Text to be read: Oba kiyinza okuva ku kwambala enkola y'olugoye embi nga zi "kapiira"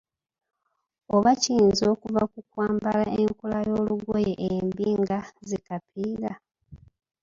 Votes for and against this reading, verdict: 2, 0, accepted